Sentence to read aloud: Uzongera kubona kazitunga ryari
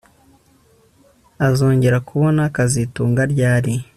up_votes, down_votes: 2, 0